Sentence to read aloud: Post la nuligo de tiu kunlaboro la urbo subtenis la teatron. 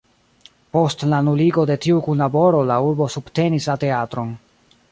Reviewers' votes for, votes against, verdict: 0, 2, rejected